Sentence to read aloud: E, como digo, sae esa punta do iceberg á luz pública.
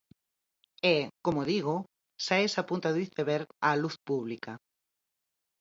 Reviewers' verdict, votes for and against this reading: accepted, 4, 0